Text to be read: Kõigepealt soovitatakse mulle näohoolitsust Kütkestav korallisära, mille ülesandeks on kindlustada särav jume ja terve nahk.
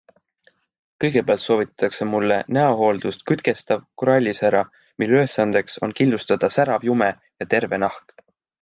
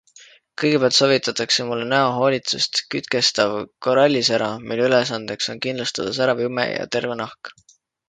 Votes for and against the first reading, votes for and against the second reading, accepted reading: 1, 2, 2, 0, second